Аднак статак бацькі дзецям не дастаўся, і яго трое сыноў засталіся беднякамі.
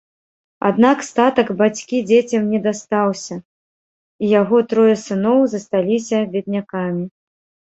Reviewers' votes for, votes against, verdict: 1, 2, rejected